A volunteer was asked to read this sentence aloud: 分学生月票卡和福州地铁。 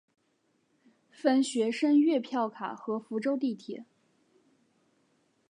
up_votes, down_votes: 2, 0